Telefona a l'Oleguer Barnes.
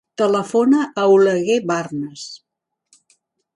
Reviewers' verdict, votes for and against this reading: rejected, 1, 2